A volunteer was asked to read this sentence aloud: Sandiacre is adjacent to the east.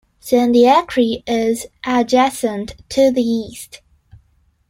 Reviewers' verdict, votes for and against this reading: rejected, 1, 2